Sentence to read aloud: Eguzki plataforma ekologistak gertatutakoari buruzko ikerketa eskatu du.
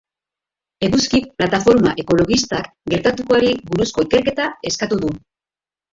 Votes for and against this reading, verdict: 0, 3, rejected